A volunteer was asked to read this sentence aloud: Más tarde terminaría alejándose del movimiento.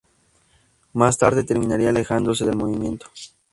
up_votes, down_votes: 2, 0